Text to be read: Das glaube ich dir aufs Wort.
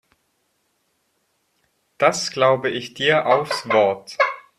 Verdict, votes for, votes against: rejected, 2, 4